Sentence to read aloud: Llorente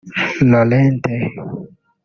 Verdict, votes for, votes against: rejected, 2, 3